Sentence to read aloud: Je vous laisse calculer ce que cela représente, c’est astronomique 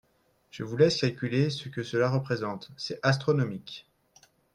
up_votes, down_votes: 3, 0